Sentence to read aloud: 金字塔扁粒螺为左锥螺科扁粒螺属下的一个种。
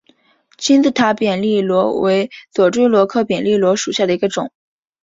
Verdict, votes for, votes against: accepted, 5, 0